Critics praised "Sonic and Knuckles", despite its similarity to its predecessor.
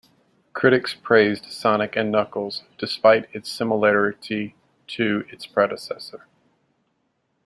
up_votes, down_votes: 2, 0